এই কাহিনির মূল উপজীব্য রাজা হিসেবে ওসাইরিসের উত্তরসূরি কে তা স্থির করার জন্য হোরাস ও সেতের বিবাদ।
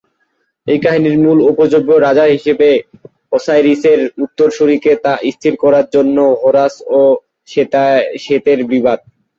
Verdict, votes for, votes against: rejected, 0, 2